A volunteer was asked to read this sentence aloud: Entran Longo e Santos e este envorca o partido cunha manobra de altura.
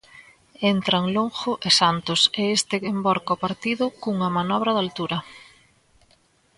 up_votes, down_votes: 2, 0